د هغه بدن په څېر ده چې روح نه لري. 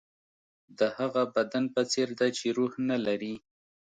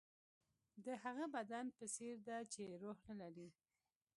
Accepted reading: first